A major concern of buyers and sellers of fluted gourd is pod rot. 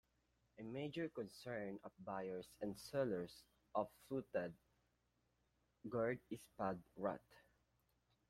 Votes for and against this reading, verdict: 2, 1, accepted